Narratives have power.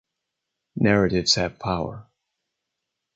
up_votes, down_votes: 4, 0